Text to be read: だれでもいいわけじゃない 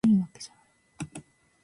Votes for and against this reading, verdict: 1, 2, rejected